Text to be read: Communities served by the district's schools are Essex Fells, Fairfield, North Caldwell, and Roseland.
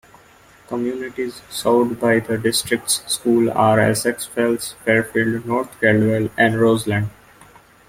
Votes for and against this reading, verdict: 0, 2, rejected